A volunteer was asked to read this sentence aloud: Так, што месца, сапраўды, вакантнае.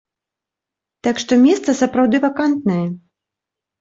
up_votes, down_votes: 3, 0